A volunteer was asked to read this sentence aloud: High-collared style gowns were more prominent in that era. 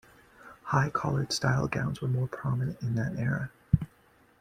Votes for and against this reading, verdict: 0, 2, rejected